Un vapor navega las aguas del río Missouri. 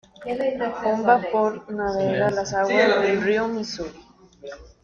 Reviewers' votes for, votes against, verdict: 1, 2, rejected